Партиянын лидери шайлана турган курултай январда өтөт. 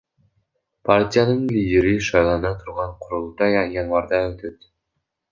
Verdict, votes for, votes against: rejected, 0, 2